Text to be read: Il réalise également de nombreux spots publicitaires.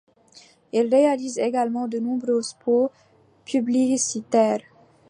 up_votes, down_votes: 1, 2